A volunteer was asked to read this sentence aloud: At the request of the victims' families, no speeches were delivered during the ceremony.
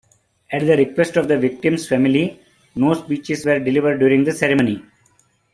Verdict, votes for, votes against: accepted, 2, 1